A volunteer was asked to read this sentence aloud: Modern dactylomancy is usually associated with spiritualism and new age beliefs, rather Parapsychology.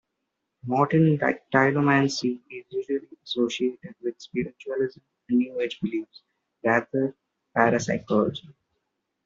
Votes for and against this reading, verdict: 1, 2, rejected